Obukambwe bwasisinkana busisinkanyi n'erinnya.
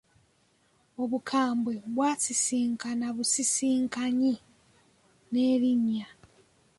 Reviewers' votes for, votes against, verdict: 2, 0, accepted